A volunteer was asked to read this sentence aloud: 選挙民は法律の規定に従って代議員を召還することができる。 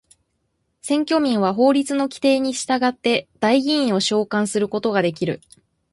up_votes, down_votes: 2, 0